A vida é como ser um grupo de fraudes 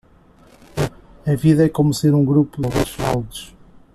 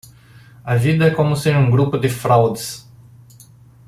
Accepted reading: second